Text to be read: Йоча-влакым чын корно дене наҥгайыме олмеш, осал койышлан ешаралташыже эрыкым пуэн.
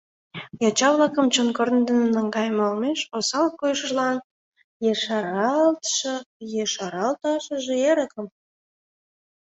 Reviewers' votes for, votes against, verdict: 0, 2, rejected